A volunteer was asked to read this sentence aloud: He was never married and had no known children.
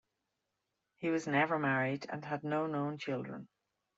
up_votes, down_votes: 2, 0